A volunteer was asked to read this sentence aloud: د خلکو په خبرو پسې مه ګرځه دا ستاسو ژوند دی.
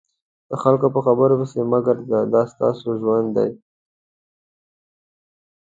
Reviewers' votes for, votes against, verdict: 2, 0, accepted